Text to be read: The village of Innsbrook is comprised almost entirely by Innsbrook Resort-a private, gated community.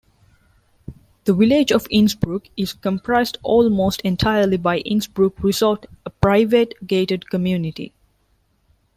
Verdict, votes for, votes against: rejected, 0, 2